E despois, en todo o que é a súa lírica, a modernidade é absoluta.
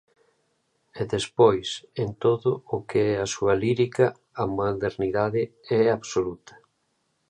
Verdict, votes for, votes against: accepted, 2, 1